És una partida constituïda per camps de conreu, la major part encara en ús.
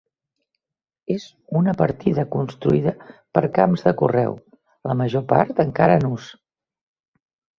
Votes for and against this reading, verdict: 0, 2, rejected